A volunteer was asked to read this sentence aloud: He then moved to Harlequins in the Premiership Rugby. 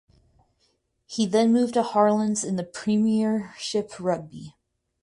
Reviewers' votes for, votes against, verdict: 2, 4, rejected